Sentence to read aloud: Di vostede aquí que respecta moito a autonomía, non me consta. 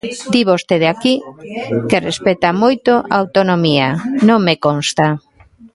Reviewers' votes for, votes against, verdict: 1, 2, rejected